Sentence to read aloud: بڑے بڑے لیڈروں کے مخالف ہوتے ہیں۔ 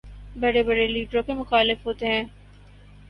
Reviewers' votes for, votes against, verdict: 10, 0, accepted